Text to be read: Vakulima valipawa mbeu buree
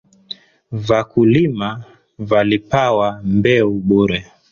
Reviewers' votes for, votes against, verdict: 2, 0, accepted